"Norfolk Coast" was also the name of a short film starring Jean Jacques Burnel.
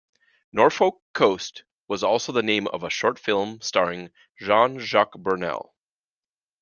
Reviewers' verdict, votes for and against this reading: accepted, 2, 0